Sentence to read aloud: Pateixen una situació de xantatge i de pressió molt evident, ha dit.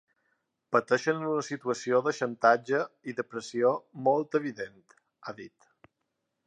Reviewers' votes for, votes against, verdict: 3, 0, accepted